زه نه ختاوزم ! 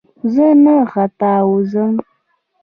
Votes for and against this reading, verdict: 1, 2, rejected